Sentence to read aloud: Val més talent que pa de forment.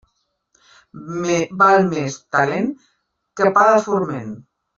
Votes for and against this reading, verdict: 2, 1, accepted